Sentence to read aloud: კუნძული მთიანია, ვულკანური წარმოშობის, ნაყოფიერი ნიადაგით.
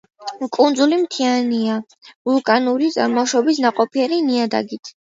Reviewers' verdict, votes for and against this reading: accepted, 2, 1